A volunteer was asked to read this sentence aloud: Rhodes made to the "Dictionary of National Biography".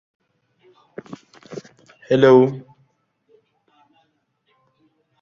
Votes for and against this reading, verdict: 0, 2, rejected